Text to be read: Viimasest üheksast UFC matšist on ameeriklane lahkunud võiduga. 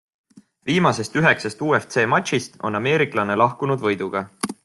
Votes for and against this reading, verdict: 2, 0, accepted